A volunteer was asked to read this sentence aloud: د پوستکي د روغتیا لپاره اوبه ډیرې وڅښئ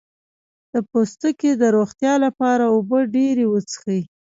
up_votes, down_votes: 1, 2